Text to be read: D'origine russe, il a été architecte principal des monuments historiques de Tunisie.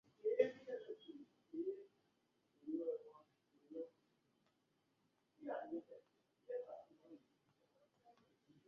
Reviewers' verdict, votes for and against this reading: rejected, 0, 2